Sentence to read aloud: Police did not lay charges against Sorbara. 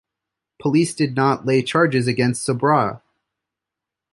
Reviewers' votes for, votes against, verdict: 2, 0, accepted